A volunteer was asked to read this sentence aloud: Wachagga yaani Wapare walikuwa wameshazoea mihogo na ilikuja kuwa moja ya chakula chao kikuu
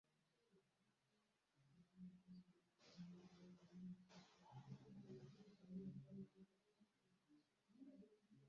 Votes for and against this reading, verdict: 0, 2, rejected